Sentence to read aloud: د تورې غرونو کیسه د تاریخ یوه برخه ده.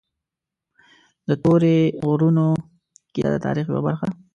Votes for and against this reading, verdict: 1, 2, rejected